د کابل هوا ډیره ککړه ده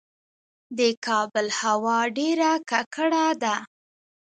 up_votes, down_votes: 2, 1